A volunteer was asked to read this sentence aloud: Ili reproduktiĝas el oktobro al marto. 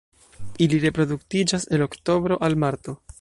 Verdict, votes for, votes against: accepted, 2, 0